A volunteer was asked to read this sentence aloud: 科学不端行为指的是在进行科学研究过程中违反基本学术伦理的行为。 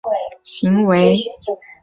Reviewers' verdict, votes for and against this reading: rejected, 0, 4